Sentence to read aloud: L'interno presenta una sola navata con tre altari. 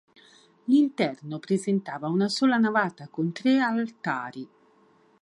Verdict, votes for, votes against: rejected, 1, 3